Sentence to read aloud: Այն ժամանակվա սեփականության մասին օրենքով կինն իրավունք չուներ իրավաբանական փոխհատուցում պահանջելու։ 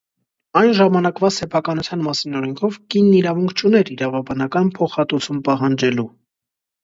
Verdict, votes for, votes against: accepted, 2, 0